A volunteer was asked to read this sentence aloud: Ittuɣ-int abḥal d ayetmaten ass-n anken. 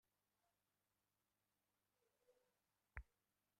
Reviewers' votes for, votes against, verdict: 0, 2, rejected